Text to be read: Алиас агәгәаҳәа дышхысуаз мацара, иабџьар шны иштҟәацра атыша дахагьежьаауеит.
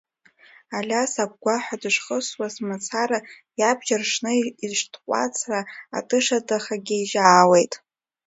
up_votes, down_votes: 0, 2